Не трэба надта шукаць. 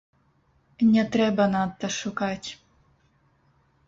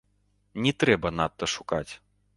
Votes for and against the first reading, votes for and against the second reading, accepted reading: 0, 3, 2, 0, second